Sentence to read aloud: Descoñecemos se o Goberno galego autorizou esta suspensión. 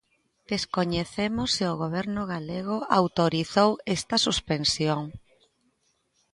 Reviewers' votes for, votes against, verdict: 2, 0, accepted